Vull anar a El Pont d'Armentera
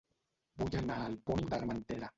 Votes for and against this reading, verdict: 1, 3, rejected